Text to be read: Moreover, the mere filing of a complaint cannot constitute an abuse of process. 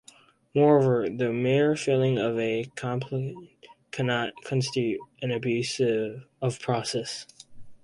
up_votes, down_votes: 2, 4